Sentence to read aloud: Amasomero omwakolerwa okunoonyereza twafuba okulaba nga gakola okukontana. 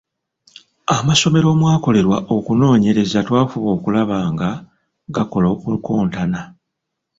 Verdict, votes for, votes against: rejected, 0, 2